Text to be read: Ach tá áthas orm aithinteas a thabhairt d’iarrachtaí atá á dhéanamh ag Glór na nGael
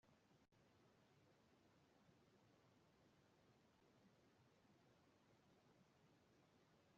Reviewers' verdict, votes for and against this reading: rejected, 0, 2